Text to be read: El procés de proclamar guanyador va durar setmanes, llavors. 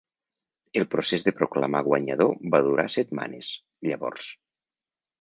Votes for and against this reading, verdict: 3, 0, accepted